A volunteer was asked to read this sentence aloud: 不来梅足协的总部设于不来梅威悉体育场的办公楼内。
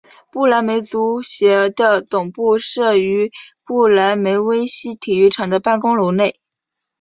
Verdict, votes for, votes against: accepted, 2, 0